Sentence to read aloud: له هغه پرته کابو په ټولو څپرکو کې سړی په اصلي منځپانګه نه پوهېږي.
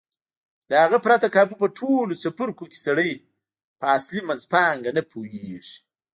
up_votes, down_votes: 1, 2